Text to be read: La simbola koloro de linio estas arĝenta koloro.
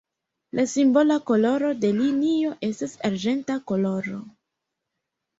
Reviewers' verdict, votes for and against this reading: rejected, 0, 2